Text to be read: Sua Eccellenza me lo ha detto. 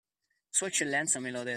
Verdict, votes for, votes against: accepted, 2, 1